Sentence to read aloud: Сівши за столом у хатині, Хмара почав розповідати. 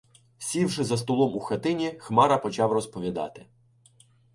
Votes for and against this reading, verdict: 2, 0, accepted